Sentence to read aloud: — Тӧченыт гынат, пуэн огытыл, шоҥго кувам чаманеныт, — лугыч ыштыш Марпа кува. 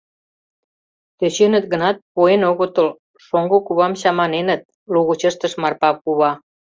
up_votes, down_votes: 2, 0